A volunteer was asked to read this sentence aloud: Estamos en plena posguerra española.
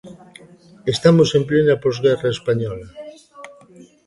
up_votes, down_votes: 2, 0